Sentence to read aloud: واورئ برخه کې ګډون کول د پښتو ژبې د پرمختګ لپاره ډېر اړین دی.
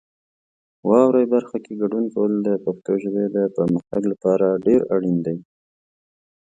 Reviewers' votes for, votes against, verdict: 2, 0, accepted